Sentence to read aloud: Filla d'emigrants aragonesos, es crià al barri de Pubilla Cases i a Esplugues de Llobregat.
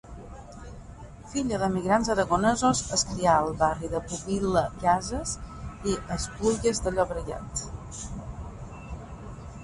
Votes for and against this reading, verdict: 0, 3, rejected